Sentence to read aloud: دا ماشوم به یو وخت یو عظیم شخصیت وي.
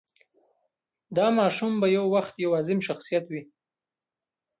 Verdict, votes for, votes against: accepted, 2, 1